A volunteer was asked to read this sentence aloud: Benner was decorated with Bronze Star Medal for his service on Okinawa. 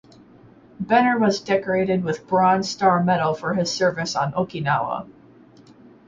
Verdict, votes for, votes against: rejected, 2, 2